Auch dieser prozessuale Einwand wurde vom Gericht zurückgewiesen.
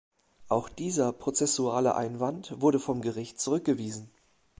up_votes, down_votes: 2, 0